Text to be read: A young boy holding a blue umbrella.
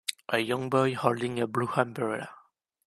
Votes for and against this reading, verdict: 3, 1, accepted